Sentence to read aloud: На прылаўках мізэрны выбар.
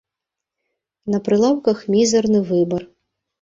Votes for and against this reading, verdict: 1, 3, rejected